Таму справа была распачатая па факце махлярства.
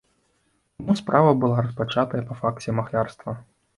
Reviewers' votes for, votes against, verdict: 2, 0, accepted